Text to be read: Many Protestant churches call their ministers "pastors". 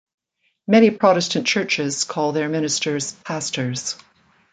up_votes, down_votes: 2, 0